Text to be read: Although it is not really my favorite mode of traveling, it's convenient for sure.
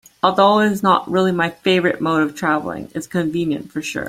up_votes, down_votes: 2, 0